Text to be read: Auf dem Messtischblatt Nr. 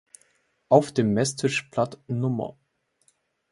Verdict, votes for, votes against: accepted, 2, 0